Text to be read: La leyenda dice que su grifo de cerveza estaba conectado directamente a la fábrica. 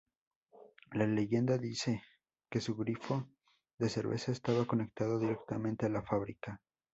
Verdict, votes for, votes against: accepted, 2, 0